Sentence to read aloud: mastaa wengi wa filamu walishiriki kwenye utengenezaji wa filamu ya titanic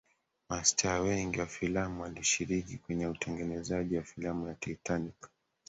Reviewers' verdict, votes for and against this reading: rejected, 1, 2